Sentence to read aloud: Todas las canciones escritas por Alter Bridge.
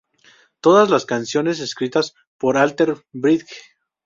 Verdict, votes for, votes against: accepted, 2, 0